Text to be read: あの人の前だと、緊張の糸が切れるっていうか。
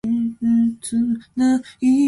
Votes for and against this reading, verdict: 0, 2, rejected